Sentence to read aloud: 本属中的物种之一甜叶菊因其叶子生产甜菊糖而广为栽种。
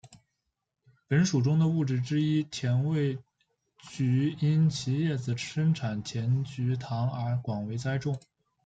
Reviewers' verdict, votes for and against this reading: rejected, 1, 2